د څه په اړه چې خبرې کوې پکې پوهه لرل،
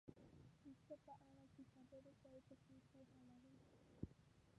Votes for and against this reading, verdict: 0, 2, rejected